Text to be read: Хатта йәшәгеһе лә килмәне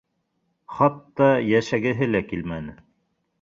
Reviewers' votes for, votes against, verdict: 2, 0, accepted